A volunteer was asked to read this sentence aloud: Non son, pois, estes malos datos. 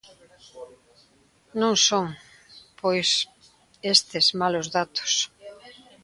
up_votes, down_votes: 1, 2